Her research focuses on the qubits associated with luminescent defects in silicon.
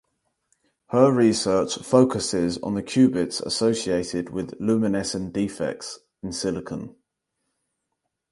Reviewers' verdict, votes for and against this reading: accepted, 4, 0